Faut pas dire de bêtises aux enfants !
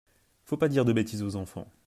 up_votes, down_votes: 2, 0